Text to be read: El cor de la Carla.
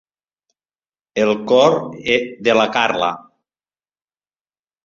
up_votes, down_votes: 0, 3